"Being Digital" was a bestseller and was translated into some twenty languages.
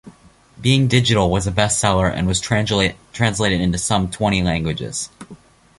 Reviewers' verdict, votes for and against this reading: accepted, 2, 0